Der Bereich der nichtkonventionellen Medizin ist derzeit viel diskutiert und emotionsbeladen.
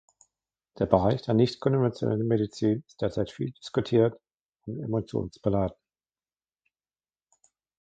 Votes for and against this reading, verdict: 1, 2, rejected